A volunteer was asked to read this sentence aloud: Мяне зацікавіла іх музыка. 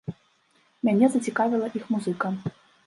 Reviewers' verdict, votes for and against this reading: rejected, 1, 2